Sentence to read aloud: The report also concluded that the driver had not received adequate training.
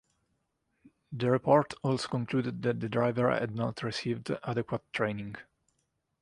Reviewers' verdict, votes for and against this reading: accepted, 2, 0